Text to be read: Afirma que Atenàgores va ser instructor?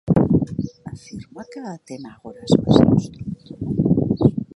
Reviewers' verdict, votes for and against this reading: rejected, 1, 2